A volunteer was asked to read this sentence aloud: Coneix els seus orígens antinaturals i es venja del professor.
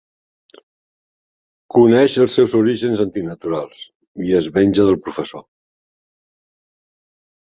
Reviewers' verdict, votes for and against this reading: accepted, 5, 0